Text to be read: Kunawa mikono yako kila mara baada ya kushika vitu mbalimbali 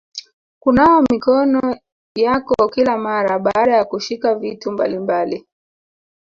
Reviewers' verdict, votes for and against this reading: rejected, 0, 2